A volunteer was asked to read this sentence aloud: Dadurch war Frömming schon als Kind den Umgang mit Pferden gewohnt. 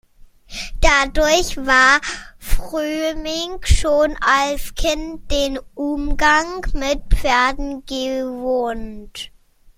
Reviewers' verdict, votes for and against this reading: rejected, 1, 2